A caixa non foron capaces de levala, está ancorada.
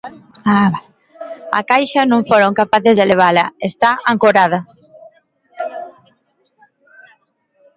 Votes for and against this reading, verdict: 0, 2, rejected